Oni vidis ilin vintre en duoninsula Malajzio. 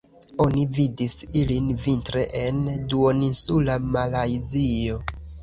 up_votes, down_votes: 0, 2